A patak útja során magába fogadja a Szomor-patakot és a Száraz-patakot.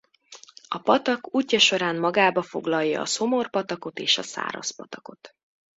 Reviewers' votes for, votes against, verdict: 0, 2, rejected